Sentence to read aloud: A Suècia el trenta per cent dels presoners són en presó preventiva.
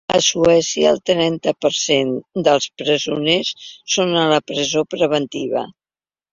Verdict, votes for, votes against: rejected, 1, 2